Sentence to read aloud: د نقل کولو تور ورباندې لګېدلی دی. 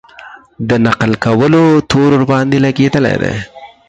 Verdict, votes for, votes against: accepted, 4, 0